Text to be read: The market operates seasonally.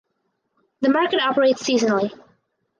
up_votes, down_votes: 4, 0